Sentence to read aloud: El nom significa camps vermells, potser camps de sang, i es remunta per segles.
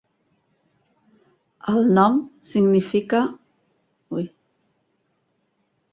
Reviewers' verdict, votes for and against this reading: rejected, 0, 2